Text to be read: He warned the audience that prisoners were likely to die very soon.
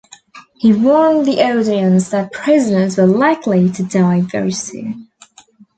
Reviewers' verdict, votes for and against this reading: rejected, 1, 2